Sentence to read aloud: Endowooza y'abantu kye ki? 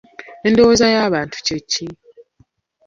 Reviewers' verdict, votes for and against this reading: rejected, 0, 2